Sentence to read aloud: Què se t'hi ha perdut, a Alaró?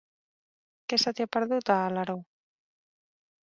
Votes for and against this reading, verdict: 3, 0, accepted